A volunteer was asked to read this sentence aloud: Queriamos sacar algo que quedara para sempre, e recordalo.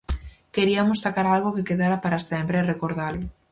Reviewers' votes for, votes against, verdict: 0, 4, rejected